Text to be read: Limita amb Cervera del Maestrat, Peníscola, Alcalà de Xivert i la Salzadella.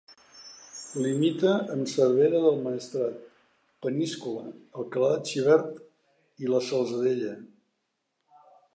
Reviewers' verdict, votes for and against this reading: accepted, 3, 0